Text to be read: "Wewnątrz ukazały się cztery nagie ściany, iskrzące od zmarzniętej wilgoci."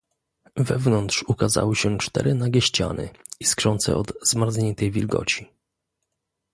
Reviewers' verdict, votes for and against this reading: accepted, 2, 0